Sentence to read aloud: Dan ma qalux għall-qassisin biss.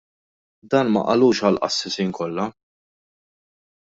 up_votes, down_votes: 0, 2